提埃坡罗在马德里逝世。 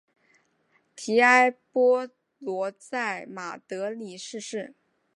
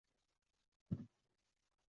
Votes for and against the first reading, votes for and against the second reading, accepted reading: 5, 0, 1, 5, first